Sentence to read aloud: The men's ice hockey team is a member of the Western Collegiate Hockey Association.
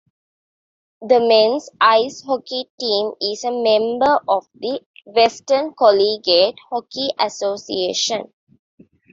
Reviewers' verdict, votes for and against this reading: rejected, 1, 2